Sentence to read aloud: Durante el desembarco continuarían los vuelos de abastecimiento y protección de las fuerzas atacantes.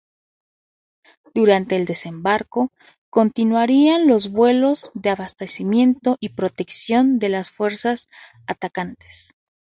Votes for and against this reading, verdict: 2, 0, accepted